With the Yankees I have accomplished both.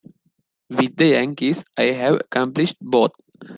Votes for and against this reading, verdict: 2, 0, accepted